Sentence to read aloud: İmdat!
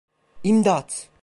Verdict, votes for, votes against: accepted, 2, 0